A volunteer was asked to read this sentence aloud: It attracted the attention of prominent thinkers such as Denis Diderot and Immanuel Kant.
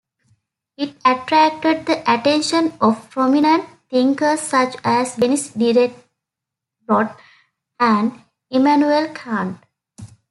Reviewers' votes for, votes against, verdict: 0, 2, rejected